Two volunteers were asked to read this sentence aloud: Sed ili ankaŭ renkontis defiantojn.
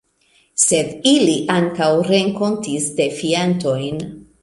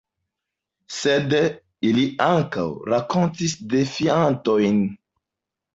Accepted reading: first